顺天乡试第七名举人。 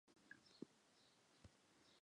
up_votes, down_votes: 2, 3